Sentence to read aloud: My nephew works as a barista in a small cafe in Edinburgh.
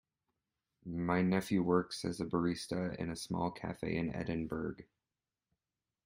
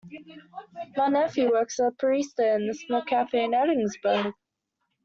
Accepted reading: first